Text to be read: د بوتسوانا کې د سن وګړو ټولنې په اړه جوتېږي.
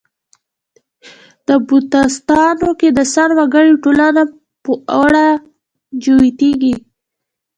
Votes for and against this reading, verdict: 1, 2, rejected